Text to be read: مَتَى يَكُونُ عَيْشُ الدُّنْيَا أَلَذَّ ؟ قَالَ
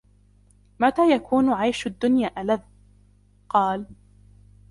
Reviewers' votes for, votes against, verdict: 2, 0, accepted